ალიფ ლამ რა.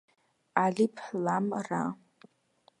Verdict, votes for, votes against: accepted, 2, 0